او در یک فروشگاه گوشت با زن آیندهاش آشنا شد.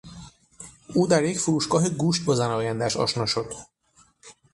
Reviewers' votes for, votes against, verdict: 6, 0, accepted